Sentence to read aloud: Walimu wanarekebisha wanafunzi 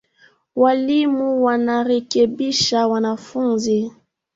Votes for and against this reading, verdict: 5, 1, accepted